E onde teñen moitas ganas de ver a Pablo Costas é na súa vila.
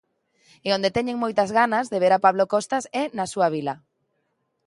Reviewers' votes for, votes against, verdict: 2, 0, accepted